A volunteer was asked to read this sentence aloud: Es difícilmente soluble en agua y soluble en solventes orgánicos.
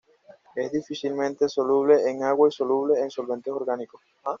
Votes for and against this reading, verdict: 0, 2, rejected